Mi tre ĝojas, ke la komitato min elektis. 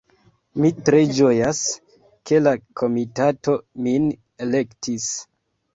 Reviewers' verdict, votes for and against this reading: accepted, 2, 0